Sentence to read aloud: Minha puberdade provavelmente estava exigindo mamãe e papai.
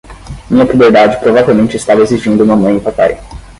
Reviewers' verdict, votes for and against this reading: rejected, 5, 5